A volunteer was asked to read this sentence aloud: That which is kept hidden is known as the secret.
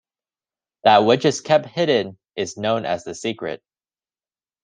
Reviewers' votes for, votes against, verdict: 2, 0, accepted